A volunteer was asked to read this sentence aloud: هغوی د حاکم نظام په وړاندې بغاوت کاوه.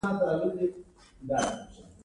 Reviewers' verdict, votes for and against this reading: accepted, 2, 1